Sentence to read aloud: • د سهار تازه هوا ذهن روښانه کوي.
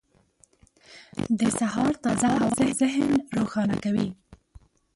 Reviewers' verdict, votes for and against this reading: rejected, 0, 2